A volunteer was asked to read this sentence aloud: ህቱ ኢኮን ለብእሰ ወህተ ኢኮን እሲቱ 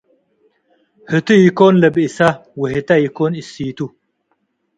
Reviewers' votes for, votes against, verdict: 2, 0, accepted